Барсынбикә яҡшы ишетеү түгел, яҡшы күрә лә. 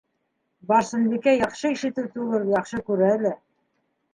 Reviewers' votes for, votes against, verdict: 2, 0, accepted